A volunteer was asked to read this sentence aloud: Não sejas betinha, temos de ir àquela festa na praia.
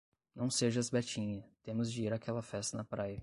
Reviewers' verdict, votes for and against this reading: rejected, 5, 5